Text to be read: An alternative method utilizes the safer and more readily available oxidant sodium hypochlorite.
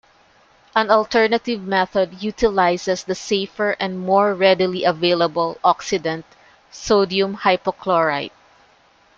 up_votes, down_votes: 2, 0